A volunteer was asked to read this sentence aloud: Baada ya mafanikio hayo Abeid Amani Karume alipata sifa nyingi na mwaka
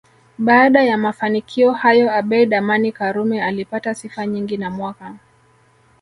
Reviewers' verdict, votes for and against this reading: accepted, 2, 0